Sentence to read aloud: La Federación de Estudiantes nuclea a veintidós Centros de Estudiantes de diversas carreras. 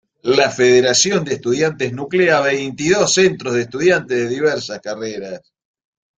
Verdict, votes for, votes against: accepted, 2, 1